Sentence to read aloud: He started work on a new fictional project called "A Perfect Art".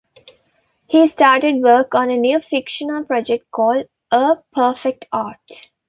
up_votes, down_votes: 2, 0